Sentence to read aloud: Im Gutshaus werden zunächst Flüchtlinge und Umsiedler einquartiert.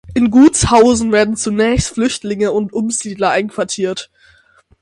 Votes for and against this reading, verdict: 0, 6, rejected